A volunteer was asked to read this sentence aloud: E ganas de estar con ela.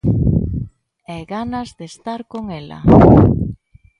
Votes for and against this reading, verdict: 2, 0, accepted